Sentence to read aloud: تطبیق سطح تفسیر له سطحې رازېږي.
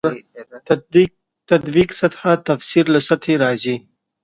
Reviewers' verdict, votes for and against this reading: rejected, 1, 2